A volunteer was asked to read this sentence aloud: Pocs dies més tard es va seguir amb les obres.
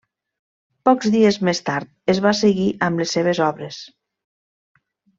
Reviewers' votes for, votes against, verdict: 0, 2, rejected